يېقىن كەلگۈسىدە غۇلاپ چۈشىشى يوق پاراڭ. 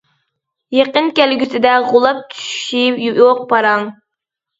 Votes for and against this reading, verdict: 2, 0, accepted